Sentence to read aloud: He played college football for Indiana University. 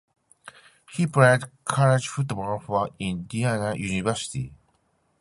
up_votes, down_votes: 0, 2